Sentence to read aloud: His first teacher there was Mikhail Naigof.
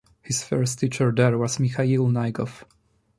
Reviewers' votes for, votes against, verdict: 2, 1, accepted